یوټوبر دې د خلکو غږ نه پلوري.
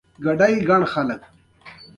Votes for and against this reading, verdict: 2, 0, accepted